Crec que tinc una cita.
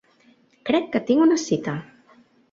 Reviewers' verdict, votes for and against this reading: accepted, 3, 0